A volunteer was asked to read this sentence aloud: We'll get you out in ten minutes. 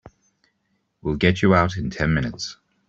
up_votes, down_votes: 2, 0